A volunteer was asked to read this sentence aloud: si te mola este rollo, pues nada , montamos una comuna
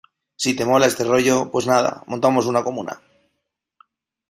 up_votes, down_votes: 2, 0